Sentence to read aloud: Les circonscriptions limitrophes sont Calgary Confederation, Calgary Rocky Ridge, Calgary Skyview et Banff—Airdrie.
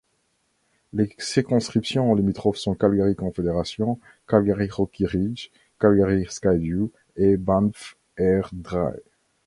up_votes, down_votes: 1, 2